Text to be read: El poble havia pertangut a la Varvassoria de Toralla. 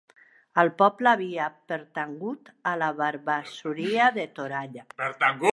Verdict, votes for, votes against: rejected, 1, 2